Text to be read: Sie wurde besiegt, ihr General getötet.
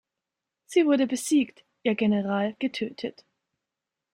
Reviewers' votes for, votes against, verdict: 2, 0, accepted